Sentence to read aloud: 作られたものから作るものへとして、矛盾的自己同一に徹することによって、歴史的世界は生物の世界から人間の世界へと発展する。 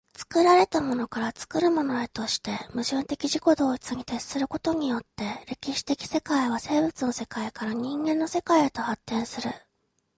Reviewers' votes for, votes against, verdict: 2, 0, accepted